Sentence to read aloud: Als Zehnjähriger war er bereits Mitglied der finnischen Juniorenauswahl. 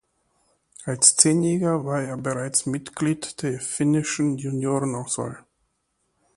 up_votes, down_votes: 2, 1